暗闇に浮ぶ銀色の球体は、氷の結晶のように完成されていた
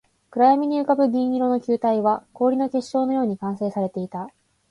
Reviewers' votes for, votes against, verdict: 4, 0, accepted